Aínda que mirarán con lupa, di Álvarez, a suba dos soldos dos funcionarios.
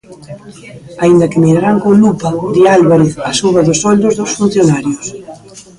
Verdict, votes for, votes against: rejected, 0, 2